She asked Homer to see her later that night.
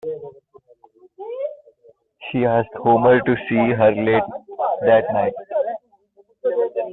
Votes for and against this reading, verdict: 1, 2, rejected